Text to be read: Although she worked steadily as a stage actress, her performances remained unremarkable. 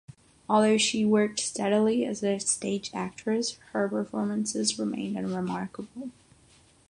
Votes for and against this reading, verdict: 6, 0, accepted